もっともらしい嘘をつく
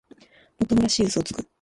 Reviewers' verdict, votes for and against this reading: rejected, 1, 2